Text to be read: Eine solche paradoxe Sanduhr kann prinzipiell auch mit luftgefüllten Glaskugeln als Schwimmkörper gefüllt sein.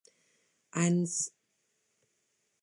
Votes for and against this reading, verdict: 0, 2, rejected